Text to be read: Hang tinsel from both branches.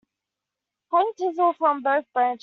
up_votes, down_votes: 0, 2